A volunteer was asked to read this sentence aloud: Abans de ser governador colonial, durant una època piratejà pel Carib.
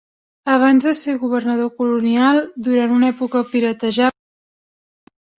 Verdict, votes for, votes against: rejected, 0, 4